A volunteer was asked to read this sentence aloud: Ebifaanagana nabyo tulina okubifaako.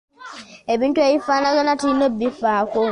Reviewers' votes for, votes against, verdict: 1, 2, rejected